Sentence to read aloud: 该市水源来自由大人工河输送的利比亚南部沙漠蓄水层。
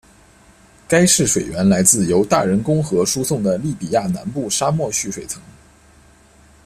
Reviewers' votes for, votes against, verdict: 2, 0, accepted